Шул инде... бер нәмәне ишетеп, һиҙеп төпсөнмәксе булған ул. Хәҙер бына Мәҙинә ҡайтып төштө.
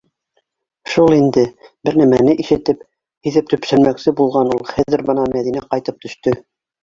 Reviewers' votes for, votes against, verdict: 2, 1, accepted